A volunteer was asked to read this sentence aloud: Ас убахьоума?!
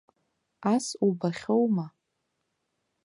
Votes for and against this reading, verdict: 2, 0, accepted